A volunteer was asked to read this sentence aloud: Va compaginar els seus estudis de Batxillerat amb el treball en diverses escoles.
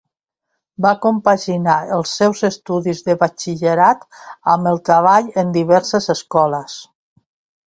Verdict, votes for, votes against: accepted, 2, 1